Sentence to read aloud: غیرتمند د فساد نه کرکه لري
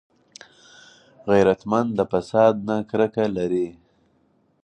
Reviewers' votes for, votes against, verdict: 4, 2, accepted